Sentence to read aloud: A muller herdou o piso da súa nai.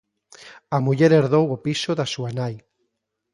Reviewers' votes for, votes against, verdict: 2, 0, accepted